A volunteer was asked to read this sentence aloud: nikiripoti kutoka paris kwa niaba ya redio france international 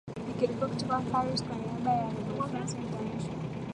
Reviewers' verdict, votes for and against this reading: rejected, 4, 5